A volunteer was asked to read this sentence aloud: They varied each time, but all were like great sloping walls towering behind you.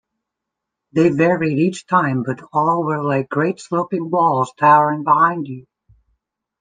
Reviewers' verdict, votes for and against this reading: rejected, 0, 2